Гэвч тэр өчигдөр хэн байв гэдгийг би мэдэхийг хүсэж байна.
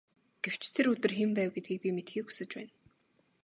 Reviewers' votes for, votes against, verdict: 1, 2, rejected